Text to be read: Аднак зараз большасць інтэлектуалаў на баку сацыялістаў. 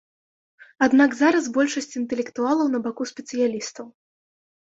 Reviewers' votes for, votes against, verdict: 1, 2, rejected